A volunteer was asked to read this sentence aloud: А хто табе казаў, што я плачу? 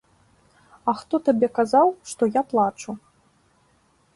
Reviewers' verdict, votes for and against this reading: accepted, 2, 0